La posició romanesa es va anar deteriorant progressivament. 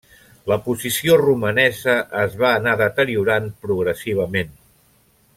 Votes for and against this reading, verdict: 1, 2, rejected